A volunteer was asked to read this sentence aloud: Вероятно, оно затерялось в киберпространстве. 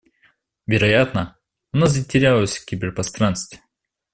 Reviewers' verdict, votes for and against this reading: accepted, 2, 0